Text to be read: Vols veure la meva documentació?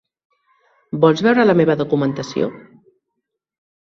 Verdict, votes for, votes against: accepted, 3, 0